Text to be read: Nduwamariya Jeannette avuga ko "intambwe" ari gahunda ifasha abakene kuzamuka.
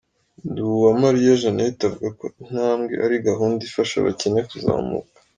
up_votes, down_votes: 3, 0